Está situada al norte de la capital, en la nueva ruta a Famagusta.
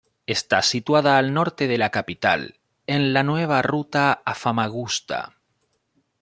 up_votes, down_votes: 2, 0